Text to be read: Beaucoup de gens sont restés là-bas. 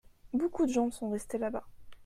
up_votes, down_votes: 2, 0